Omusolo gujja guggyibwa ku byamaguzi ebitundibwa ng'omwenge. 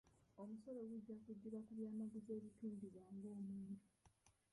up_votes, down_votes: 0, 2